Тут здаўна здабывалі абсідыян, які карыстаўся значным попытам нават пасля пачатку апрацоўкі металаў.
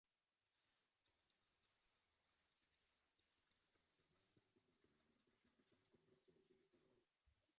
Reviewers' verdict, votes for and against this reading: rejected, 0, 2